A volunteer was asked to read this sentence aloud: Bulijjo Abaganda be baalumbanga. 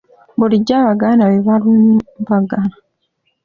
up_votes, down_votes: 2, 0